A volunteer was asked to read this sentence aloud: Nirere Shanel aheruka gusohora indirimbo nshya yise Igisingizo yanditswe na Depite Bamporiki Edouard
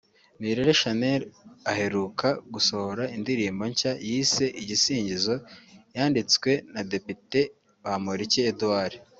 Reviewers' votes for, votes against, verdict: 2, 0, accepted